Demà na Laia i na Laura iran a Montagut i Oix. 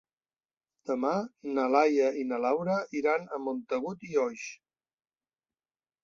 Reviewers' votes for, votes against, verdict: 3, 0, accepted